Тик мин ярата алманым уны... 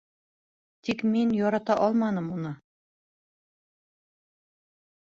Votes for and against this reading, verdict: 2, 0, accepted